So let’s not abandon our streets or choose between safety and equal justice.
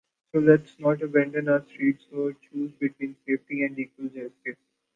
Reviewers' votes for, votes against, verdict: 1, 2, rejected